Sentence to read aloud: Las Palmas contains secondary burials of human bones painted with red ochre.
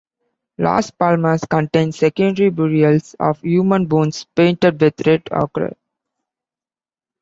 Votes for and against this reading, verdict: 2, 1, accepted